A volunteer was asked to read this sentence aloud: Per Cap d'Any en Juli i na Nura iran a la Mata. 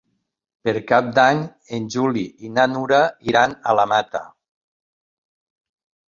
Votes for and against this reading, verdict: 3, 0, accepted